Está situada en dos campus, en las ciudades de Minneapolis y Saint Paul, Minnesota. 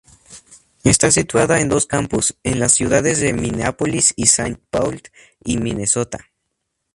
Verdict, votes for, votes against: rejected, 0, 2